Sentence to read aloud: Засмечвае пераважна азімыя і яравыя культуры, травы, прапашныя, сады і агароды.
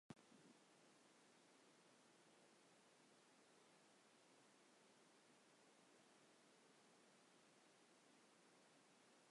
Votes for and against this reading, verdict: 1, 2, rejected